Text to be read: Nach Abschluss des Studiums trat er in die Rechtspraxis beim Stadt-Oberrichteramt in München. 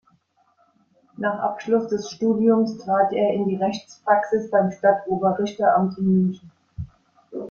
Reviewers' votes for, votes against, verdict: 2, 1, accepted